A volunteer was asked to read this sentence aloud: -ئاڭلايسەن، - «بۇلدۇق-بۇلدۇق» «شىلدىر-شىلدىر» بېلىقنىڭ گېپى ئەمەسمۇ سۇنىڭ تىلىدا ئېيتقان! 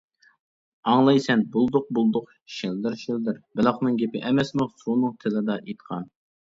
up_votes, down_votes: 2, 0